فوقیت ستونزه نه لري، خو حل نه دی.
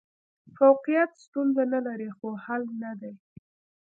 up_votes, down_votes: 3, 0